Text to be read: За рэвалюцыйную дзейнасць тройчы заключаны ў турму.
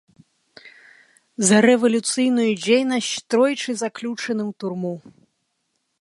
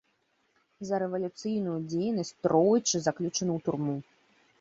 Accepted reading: second